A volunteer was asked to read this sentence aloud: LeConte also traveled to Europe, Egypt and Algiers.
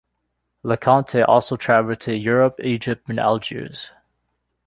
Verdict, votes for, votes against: accepted, 2, 0